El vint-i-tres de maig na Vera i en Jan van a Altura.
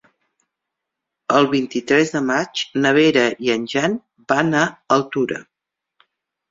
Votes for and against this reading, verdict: 3, 0, accepted